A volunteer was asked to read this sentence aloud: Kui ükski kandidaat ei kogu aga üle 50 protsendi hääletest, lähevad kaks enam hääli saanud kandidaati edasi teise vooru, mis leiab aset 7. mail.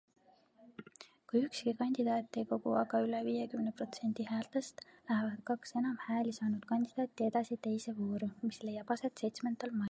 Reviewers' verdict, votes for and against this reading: rejected, 0, 2